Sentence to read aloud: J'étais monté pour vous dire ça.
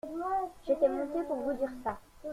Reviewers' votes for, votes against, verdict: 2, 1, accepted